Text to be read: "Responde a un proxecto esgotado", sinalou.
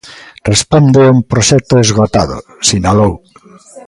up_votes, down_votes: 2, 0